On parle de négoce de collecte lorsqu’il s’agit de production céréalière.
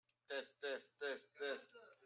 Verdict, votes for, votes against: rejected, 0, 2